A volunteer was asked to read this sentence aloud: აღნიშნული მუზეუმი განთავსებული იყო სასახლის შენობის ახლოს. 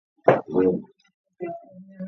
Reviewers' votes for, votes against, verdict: 1, 2, rejected